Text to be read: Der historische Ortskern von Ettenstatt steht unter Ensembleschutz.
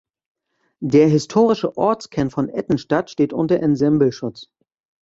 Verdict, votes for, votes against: rejected, 1, 2